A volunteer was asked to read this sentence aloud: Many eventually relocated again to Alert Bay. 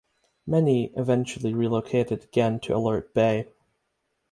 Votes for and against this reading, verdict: 6, 0, accepted